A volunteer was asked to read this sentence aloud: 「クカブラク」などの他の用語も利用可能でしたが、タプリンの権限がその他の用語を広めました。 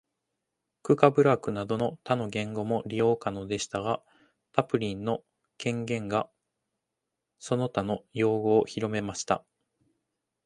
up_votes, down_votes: 1, 2